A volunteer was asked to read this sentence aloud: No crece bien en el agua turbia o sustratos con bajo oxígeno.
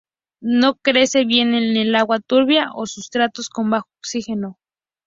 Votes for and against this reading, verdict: 2, 0, accepted